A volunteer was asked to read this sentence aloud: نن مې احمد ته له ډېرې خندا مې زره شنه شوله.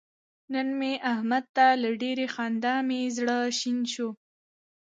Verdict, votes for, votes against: accepted, 2, 1